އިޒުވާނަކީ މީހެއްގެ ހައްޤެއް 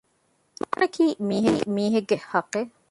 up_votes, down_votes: 0, 2